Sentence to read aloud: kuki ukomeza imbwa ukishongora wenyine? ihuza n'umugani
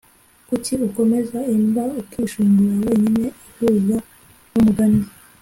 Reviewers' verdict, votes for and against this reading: accepted, 2, 0